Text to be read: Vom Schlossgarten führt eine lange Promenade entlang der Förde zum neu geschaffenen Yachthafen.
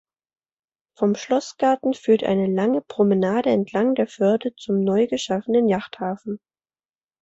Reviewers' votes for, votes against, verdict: 2, 0, accepted